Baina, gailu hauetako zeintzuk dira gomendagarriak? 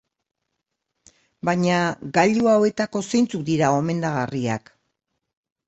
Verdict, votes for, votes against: accepted, 2, 0